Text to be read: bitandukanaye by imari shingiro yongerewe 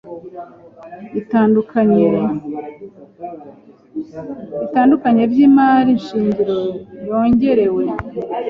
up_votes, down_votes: 2, 3